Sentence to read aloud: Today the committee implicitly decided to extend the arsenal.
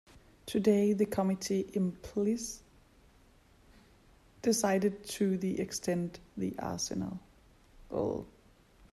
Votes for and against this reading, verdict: 0, 2, rejected